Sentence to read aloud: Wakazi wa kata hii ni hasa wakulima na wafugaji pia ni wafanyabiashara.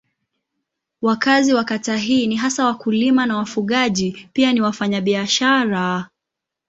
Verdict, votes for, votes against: accepted, 2, 0